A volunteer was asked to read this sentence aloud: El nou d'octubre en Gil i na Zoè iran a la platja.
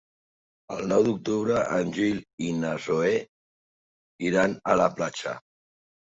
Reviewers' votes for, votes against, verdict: 2, 0, accepted